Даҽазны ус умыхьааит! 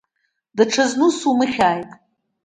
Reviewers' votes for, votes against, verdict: 2, 0, accepted